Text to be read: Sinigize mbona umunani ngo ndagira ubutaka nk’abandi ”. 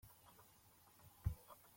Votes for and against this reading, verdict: 0, 2, rejected